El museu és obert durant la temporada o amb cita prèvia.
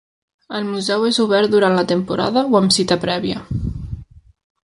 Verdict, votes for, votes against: accepted, 3, 0